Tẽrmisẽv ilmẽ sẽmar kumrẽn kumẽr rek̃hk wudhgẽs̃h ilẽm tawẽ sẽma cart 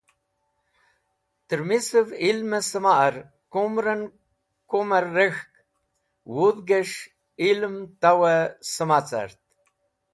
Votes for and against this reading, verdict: 2, 0, accepted